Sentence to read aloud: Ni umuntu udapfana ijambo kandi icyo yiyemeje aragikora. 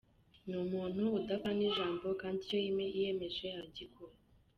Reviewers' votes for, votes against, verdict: 0, 2, rejected